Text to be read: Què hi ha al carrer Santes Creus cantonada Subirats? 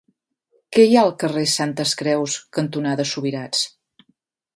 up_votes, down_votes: 2, 0